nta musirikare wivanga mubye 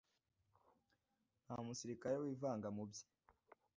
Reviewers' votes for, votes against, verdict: 2, 0, accepted